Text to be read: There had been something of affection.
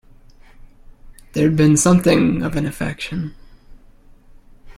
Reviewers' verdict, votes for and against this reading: rejected, 1, 2